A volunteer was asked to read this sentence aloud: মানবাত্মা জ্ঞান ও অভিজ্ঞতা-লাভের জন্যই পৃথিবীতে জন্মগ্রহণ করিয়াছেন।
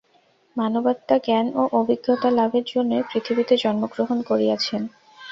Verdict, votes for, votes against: accepted, 2, 0